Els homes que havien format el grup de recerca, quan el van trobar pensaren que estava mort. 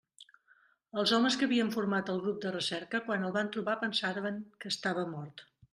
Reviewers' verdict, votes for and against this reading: accepted, 2, 0